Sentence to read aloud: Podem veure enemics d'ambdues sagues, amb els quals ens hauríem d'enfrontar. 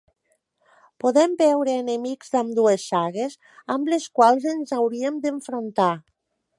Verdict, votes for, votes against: rejected, 0, 2